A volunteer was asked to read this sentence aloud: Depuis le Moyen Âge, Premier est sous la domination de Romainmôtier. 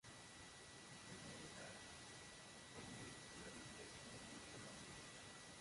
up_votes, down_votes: 0, 2